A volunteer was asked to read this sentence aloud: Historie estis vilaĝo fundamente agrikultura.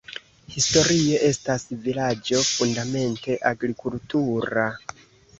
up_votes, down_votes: 1, 2